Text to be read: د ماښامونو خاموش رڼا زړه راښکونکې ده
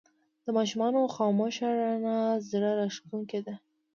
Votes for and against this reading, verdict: 1, 2, rejected